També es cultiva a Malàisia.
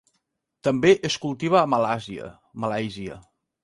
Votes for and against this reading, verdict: 1, 3, rejected